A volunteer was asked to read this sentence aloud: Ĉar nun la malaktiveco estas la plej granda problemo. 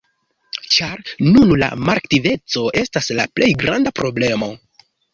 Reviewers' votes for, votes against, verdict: 2, 1, accepted